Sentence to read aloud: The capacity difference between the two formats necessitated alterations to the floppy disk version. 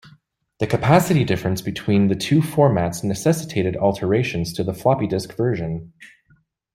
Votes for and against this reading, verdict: 2, 0, accepted